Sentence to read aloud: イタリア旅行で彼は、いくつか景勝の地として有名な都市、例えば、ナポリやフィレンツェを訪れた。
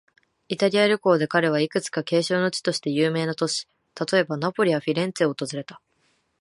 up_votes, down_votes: 9, 4